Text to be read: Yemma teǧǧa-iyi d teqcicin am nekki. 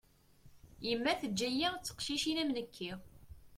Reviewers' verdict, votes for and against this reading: accepted, 2, 0